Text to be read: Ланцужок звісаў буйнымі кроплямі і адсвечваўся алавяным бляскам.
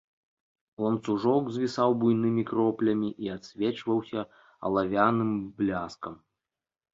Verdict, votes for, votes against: accepted, 2, 0